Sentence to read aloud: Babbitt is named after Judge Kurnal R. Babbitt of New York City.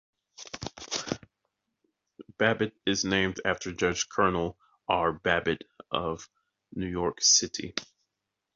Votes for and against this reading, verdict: 2, 1, accepted